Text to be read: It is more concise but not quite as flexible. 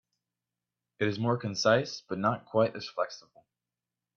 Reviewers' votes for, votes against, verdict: 2, 0, accepted